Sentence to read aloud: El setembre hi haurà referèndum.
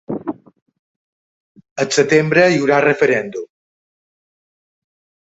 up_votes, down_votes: 0, 3